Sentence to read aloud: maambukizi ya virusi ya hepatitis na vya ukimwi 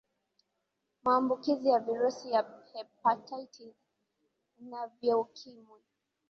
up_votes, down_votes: 3, 0